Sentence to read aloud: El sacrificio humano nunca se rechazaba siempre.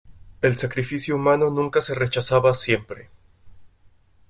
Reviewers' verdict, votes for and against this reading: accepted, 2, 0